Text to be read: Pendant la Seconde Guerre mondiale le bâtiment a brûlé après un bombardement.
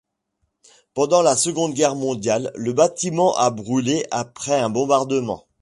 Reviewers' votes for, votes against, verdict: 2, 0, accepted